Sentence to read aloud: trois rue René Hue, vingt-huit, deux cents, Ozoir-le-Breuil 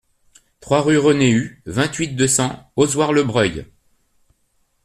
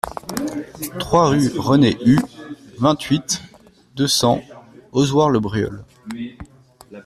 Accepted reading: first